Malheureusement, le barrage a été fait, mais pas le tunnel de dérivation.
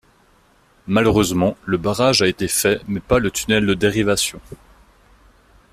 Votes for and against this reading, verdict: 2, 1, accepted